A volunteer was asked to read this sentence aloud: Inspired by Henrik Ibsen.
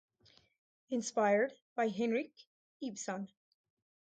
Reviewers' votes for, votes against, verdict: 0, 2, rejected